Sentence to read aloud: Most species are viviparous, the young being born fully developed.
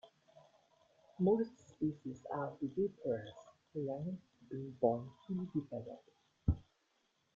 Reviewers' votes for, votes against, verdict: 0, 2, rejected